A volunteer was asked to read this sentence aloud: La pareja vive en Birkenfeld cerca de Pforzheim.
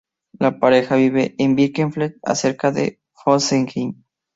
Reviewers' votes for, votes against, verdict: 0, 2, rejected